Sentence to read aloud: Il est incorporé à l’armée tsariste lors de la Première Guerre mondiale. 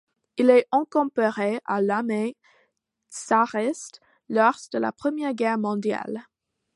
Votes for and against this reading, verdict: 0, 2, rejected